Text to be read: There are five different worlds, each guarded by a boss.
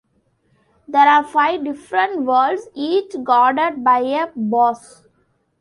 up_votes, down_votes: 2, 0